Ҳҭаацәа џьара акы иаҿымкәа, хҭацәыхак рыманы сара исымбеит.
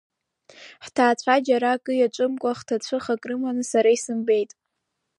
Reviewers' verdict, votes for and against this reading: rejected, 1, 2